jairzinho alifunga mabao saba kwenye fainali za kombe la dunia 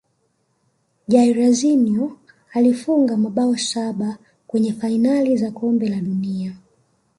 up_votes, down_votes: 2, 1